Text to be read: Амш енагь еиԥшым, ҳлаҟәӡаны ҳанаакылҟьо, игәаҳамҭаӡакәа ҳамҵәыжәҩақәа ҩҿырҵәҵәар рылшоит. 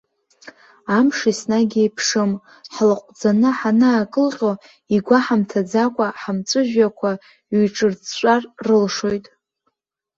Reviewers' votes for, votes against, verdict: 2, 0, accepted